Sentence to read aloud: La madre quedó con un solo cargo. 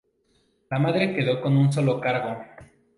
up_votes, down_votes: 2, 0